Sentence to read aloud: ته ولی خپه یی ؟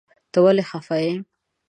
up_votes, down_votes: 2, 0